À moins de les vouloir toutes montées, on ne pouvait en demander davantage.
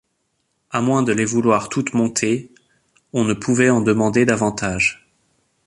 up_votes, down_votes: 2, 0